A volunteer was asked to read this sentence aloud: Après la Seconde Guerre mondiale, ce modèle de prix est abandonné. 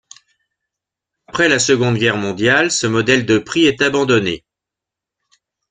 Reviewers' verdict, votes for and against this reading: accepted, 2, 0